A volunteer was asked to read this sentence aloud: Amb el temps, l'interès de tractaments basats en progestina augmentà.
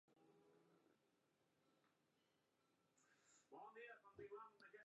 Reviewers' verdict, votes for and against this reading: rejected, 0, 2